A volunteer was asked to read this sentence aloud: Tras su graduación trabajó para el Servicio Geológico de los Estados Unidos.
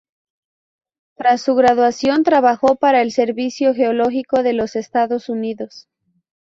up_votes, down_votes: 4, 0